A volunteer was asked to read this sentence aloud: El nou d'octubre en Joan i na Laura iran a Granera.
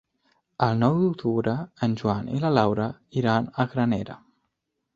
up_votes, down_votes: 1, 2